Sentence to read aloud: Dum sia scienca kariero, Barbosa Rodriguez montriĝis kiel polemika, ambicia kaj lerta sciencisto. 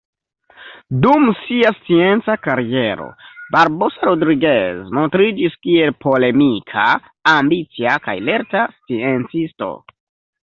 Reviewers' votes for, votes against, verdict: 0, 2, rejected